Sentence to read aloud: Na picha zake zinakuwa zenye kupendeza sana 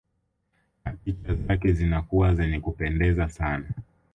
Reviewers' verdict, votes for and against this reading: rejected, 1, 2